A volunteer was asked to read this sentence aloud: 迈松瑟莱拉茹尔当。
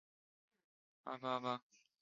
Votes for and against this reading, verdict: 2, 3, rejected